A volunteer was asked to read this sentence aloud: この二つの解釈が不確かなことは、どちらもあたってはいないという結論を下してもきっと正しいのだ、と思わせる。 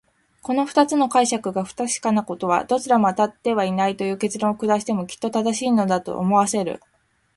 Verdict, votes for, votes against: accepted, 2, 0